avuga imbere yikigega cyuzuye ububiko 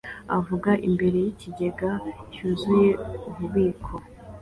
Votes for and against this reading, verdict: 2, 0, accepted